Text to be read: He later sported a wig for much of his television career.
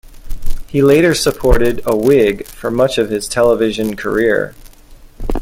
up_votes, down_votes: 0, 2